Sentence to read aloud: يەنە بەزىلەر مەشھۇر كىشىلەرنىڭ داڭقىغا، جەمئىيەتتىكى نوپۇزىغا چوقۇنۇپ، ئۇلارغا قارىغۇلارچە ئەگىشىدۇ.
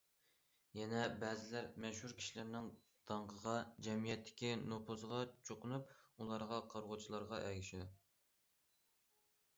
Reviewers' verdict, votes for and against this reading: rejected, 0, 2